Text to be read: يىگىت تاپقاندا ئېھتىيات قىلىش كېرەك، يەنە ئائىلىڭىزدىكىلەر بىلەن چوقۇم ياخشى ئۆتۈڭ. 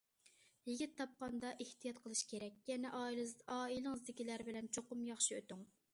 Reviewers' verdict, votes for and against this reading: rejected, 0, 2